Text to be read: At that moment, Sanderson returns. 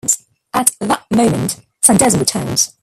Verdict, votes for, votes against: rejected, 1, 2